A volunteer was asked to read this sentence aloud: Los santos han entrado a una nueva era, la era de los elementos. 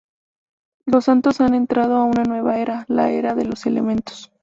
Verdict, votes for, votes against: rejected, 2, 2